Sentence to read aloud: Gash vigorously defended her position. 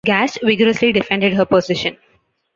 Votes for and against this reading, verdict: 2, 0, accepted